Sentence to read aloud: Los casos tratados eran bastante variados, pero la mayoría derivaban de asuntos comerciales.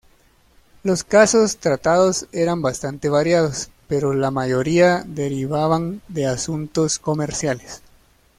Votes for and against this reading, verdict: 2, 0, accepted